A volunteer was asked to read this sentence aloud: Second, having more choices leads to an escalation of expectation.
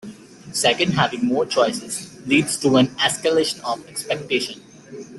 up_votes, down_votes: 2, 0